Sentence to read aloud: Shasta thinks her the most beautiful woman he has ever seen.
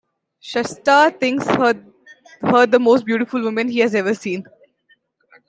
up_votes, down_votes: 0, 2